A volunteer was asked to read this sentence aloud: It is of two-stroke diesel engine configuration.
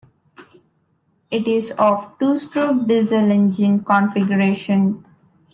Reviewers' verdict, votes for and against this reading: accepted, 2, 0